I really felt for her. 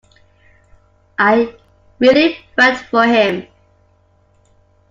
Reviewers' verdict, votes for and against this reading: rejected, 0, 2